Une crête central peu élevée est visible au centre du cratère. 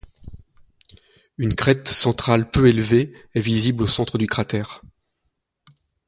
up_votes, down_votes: 2, 0